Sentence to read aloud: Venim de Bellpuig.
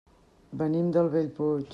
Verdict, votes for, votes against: rejected, 0, 2